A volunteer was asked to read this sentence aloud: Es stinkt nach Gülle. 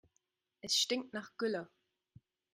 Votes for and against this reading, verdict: 4, 0, accepted